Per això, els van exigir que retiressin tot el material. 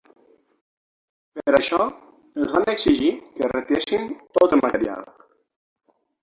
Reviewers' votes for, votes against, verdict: 0, 6, rejected